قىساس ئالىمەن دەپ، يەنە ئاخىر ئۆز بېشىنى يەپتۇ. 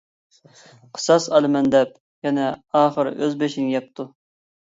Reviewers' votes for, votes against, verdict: 2, 0, accepted